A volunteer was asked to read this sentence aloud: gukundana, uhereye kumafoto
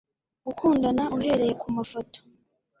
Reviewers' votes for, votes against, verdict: 2, 0, accepted